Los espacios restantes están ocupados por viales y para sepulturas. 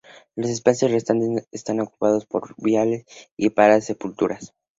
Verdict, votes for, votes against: rejected, 0, 2